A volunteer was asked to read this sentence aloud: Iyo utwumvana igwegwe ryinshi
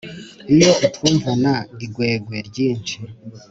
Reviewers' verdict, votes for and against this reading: accepted, 2, 0